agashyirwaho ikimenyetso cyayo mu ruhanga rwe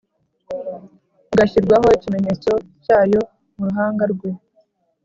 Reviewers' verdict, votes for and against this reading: accepted, 3, 1